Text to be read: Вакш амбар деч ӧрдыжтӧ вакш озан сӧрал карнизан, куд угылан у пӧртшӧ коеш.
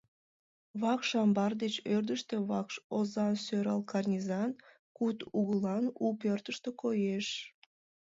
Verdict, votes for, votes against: rejected, 1, 2